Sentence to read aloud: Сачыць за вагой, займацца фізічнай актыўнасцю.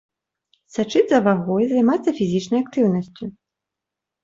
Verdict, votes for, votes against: accepted, 2, 0